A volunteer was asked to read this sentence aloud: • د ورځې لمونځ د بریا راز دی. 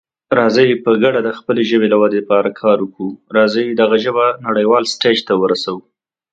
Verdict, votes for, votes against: rejected, 1, 2